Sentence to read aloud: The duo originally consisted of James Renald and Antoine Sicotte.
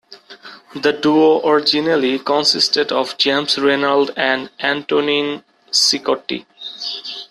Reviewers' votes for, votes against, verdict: 0, 2, rejected